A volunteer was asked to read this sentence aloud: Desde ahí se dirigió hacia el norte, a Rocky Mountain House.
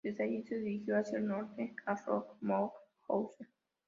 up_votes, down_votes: 0, 2